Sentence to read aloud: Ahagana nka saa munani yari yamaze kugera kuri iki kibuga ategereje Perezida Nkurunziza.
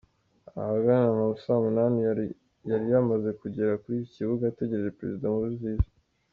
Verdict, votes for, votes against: rejected, 1, 3